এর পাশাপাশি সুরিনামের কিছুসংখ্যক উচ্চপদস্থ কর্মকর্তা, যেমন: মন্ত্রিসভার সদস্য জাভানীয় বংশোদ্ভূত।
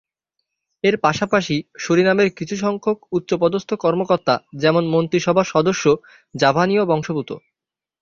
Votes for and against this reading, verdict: 0, 2, rejected